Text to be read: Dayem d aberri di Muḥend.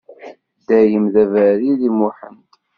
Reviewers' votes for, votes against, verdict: 2, 0, accepted